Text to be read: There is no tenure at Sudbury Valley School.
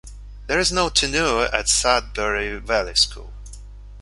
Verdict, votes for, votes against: rejected, 1, 2